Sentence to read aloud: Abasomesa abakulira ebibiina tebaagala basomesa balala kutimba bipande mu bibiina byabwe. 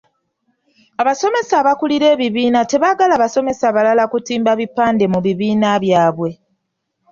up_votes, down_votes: 2, 0